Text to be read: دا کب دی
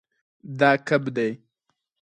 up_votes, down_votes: 4, 0